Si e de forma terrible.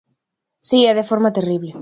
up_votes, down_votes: 2, 0